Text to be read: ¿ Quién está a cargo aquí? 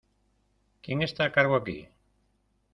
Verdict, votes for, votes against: accepted, 2, 0